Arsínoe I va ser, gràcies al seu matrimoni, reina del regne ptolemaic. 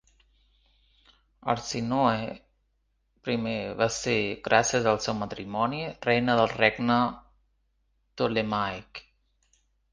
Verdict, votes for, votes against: rejected, 1, 2